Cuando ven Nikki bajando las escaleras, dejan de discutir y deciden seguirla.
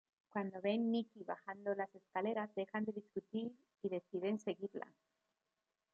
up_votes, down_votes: 2, 0